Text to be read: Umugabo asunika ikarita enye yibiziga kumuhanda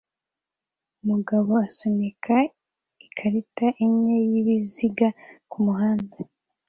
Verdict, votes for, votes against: accepted, 2, 0